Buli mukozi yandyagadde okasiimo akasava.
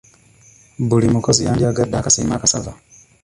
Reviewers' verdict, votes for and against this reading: rejected, 0, 2